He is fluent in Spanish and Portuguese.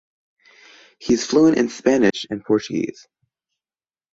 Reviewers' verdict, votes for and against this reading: accepted, 2, 0